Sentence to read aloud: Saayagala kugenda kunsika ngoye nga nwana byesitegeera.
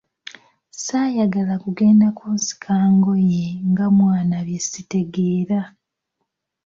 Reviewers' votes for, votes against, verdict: 0, 2, rejected